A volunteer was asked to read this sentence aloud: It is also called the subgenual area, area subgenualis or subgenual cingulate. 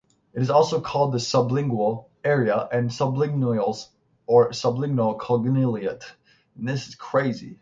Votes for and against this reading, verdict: 3, 0, accepted